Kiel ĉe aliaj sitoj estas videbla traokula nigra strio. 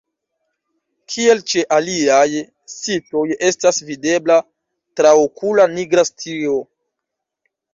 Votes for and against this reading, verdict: 0, 2, rejected